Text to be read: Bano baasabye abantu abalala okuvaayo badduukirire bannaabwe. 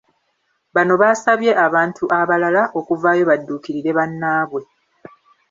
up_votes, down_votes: 0, 2